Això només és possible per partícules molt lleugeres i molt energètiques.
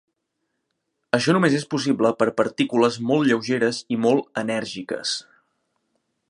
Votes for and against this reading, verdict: 0, 2, rejected